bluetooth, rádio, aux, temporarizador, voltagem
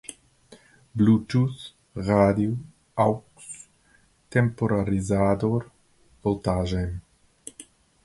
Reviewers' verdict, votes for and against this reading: rejected, 0, 2